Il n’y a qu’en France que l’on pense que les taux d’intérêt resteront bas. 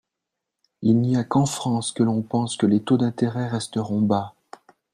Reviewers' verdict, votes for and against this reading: accepted, 2, 0